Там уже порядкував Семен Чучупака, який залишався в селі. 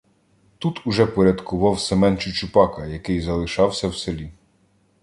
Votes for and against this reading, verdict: 0, 2, rejected